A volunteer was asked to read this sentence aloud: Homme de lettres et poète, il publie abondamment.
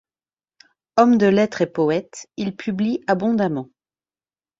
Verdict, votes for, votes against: accepted, 2, 0